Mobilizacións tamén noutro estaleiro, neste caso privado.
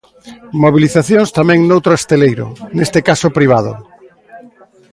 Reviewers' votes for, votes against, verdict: 2, 3, rejected